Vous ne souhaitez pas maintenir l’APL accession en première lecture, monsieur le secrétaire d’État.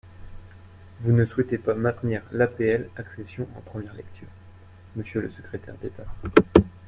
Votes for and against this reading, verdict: 2, 0, accepted